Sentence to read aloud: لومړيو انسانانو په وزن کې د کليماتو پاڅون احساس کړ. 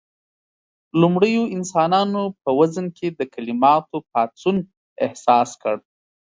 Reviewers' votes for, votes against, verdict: 2, 0, accepted